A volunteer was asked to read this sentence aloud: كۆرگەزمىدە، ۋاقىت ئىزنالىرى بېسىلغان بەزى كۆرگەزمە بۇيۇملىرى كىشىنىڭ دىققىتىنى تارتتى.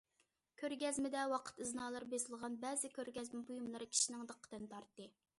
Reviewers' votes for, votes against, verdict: 2, 0, accepted